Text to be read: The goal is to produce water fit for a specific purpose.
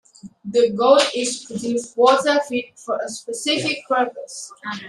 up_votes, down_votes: 2, 1